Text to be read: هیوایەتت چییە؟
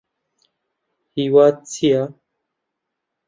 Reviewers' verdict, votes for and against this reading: rejected, 0, 2